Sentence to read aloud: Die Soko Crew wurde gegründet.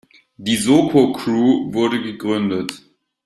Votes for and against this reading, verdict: 2, 1, accepted